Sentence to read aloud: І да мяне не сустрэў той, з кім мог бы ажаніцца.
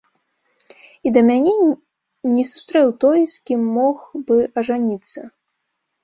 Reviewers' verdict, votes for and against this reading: rejected, 0, 2